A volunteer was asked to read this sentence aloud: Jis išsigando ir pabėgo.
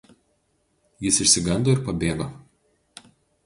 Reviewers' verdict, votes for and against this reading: accepted, 2, 0